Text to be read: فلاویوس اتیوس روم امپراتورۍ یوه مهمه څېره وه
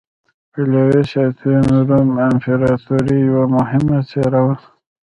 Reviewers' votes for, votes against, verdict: 1, 2, rejected